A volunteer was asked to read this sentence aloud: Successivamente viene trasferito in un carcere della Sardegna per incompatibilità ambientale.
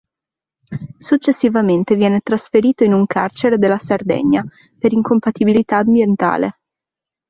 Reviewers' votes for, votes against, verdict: 2, 0, accepted